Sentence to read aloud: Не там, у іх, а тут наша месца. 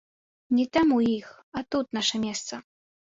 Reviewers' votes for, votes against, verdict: 2, 0, accepted